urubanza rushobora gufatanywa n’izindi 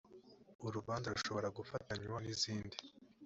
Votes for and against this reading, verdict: 2, 0, accepted